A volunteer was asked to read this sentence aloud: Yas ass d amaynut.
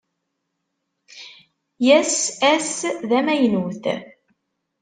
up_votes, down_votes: 1, 2